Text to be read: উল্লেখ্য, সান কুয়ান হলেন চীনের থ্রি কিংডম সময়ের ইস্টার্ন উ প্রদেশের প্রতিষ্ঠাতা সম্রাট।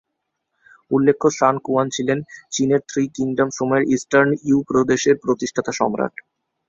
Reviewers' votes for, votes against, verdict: 0, 2, rejected